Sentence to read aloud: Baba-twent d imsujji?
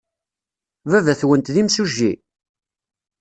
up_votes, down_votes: 2, 0